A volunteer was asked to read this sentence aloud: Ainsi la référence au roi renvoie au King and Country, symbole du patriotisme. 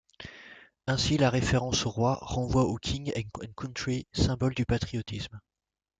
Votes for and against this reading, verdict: 2, 0, accepted